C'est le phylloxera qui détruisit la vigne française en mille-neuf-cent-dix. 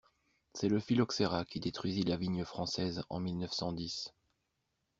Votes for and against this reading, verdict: 2, 0, accepted